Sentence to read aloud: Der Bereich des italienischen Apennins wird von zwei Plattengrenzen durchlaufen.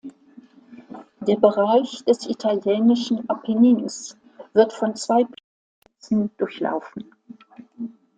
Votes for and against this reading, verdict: 0, 2, rejected